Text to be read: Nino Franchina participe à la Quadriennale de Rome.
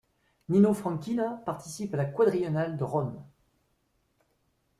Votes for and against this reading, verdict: 2, 0, accepted